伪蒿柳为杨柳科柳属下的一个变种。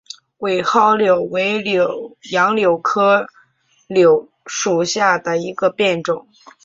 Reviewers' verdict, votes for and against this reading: accepted, 3, 0